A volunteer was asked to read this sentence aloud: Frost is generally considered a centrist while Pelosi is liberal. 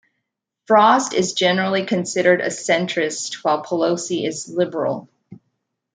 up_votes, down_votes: 2, 0